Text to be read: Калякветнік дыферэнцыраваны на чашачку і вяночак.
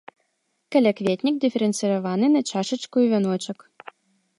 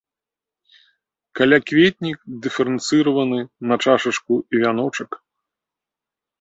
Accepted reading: first